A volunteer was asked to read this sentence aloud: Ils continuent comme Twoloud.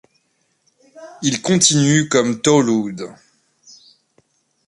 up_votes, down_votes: 0, 2